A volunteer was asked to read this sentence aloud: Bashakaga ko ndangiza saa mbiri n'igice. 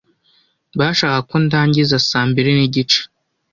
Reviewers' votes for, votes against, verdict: 2, 0, accepted